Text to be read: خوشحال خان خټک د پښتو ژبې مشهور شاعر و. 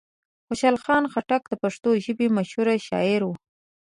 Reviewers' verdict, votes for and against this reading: rejected, 1, 2